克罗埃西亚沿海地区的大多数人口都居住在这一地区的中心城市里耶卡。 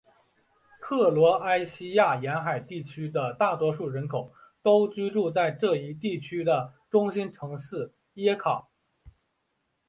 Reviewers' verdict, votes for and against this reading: rejected, 1, 2